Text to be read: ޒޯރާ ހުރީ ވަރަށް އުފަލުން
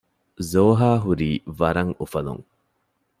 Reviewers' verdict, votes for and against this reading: rejected, 1, 2